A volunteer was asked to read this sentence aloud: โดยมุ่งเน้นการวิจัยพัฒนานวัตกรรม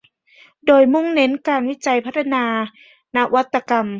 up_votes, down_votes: 2, 0